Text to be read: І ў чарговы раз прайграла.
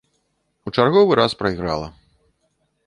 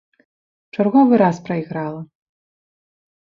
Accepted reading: second